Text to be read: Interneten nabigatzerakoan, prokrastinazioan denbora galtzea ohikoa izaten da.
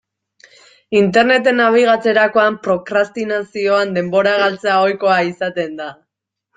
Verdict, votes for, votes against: accepted, 2, 0